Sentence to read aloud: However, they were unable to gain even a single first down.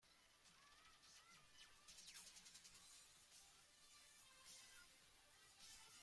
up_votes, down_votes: 0, 2